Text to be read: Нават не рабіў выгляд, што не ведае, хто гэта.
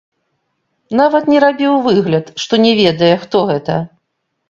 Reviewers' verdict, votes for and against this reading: accepted, 2, 1